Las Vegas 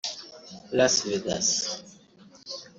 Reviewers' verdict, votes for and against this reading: rejected, 1, 2